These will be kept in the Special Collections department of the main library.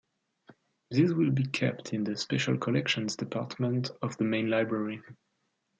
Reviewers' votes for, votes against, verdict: 2, 0, accepted